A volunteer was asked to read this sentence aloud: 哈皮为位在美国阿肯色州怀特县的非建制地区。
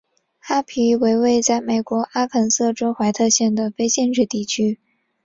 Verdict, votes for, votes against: accepted, 2, 0